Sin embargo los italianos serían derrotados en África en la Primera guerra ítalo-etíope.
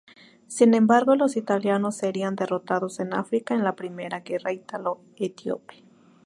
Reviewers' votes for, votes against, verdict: 4, 0, accepted